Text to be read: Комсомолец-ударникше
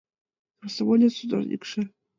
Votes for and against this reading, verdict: 1, 2, rejected